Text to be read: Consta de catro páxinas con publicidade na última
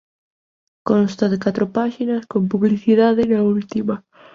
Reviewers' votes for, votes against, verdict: 2, 0, accepted